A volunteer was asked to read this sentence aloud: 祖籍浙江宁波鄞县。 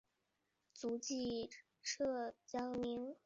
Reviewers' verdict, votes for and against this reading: rejected, 0, 2